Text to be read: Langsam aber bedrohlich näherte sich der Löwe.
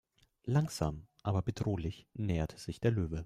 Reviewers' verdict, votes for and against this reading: rejected, 1, 2